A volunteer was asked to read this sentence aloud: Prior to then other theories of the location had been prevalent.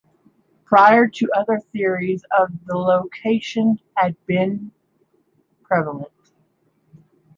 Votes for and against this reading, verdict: 0, 2, rejected